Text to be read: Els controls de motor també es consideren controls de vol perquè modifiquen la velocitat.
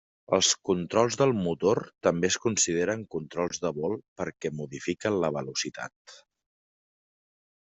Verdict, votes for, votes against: rejected, 0, 2